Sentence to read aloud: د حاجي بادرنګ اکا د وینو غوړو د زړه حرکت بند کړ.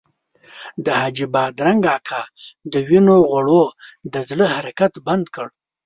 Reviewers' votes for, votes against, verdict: 2, 0, accepted